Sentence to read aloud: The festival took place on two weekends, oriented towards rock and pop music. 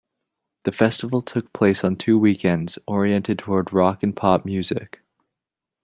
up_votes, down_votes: 0, 2